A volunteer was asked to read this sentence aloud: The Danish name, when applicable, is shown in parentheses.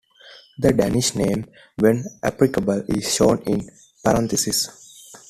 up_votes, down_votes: 2, 0